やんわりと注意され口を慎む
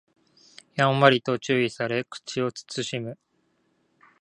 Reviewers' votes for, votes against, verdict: 2, 0, accepted